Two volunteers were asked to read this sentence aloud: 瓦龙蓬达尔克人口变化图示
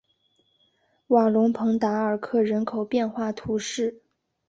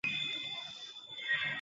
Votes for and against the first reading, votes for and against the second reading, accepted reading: 2, 0, 1, 3, first